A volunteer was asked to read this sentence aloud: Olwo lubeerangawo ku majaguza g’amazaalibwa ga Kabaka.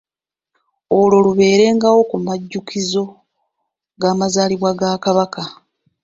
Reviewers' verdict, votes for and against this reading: rejected, 1, 2